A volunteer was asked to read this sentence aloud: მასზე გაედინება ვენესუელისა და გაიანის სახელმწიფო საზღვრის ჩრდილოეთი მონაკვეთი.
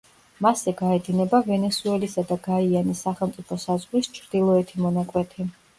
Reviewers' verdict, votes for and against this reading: accepted, 2, 0